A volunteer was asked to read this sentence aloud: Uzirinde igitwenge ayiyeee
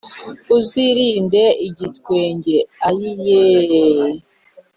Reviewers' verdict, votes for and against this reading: accepted, 3, 0